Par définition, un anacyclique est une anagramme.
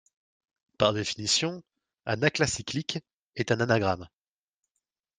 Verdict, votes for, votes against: rejected, 1, 2